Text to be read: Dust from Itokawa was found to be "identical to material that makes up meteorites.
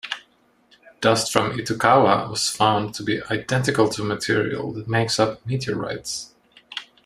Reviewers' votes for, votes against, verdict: 2, 1, accepted